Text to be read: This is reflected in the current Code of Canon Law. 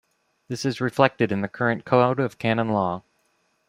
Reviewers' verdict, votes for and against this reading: rejected, 1, 2